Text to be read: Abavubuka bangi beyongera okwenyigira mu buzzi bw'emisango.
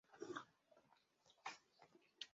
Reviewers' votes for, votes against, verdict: 0, 2, rejected